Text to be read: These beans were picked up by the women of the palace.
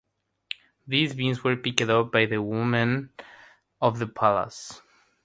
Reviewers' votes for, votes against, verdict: 3, 0, accepted